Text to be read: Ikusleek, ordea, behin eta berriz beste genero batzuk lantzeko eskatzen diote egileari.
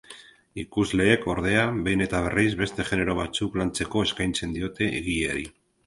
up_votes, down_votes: 0, 2